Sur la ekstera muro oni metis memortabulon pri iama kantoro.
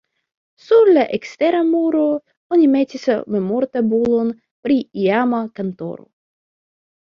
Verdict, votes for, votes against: accepted, 2, 0